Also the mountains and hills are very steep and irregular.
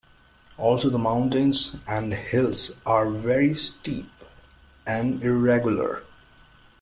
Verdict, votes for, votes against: accepted, 2, 0